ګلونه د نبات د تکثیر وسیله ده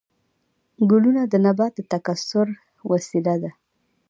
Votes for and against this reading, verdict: 1, 2, rejected